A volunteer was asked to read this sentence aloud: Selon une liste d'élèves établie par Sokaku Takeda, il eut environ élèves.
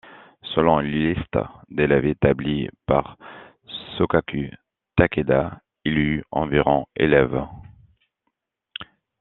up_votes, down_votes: 2, 0